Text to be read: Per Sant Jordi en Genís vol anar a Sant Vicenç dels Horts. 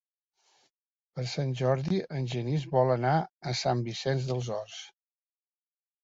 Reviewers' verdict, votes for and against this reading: accepted, 2, 0